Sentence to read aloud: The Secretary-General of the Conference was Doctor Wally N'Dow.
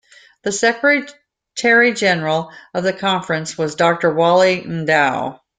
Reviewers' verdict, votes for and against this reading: accepted, 2, 1